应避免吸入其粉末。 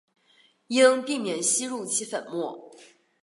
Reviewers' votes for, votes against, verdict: 2, 0, accepted